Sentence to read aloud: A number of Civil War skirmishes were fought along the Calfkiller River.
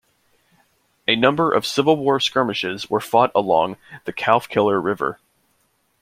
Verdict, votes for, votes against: accepted, 2, 0